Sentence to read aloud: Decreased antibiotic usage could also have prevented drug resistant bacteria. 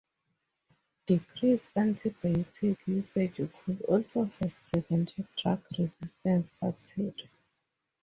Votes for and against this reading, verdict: 8, 6, accepted